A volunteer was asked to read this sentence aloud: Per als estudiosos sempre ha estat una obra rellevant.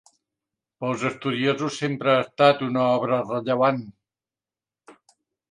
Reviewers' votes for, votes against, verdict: 0, 3, rejected